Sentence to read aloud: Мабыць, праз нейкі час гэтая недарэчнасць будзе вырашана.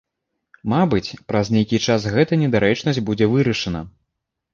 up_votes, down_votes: 0, 2